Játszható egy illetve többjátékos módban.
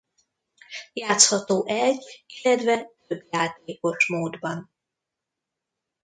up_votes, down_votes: 1, 2